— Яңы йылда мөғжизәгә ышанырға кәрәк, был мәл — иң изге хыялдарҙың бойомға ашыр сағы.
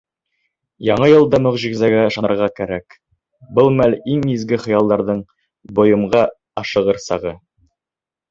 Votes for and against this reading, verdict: 1, 2, rejected